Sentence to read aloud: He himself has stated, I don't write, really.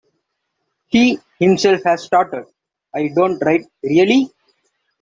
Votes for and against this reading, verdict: 0, 2, rejected